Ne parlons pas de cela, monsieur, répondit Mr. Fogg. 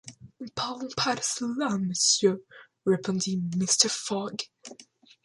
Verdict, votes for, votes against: rejected, 0, 2